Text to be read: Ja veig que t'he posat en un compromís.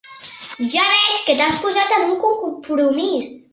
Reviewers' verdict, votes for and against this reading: rejected, 0, 2